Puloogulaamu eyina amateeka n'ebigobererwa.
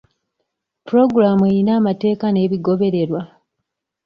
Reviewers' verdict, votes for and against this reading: accepted, 2, 0